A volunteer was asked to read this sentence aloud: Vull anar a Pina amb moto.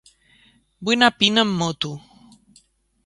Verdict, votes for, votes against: rejected, 1, 2